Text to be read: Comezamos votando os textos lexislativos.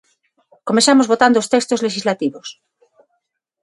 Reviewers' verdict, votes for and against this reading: accepted, 6, 0